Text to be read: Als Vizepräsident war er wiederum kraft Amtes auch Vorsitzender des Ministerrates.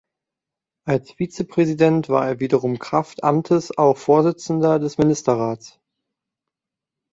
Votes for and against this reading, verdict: 2, 1, accepted